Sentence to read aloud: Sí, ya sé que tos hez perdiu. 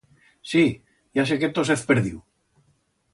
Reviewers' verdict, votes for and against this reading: accepted, 2, 0